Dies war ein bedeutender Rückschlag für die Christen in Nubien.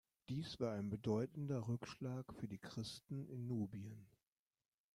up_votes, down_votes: 1, 2